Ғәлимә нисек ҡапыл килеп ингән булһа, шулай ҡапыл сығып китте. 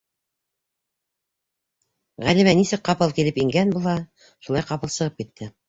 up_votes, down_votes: 2, 0